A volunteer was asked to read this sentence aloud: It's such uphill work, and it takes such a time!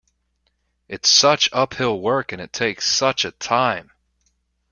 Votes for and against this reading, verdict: 2, 0, accepted